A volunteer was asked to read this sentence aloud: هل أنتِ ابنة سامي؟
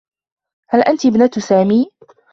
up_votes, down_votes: 2, 0